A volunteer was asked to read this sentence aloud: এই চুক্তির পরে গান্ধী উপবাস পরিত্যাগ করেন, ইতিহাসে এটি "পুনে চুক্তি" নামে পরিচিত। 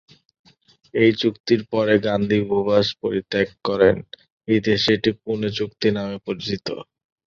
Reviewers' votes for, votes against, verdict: 1, 2, rejected